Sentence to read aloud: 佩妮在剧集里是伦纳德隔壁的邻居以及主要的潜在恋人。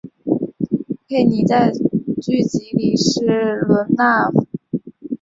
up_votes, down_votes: 0, 2